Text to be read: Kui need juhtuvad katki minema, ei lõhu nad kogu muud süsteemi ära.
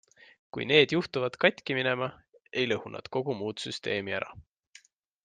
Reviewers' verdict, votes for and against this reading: accepted, 2, 0